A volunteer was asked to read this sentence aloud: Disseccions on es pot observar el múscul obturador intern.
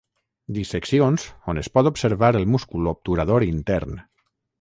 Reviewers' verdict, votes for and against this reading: rejected, 0, 3